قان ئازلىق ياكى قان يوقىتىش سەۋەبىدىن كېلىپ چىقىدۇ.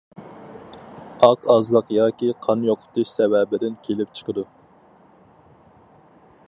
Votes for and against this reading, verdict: 0, 4, rejected